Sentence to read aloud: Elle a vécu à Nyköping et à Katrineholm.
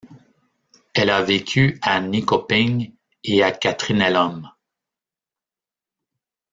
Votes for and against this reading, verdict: 0, 2, rejected